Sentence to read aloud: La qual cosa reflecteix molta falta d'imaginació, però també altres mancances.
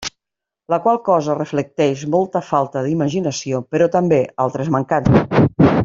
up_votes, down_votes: 1, 2